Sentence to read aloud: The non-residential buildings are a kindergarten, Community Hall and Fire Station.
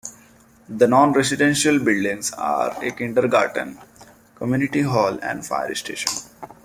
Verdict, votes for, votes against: accepted, 2, 0